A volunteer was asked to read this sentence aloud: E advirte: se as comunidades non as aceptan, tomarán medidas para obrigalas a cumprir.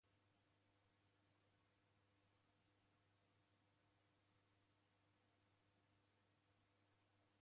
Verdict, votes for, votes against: rejected, 0, 2